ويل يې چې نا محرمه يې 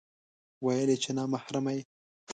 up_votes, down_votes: 2, 0